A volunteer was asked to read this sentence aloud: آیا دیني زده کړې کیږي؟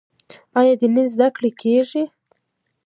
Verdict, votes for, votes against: rejected, 1, 2